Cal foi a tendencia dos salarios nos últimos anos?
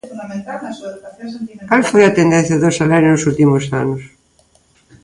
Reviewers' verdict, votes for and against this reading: rejected, 1, 2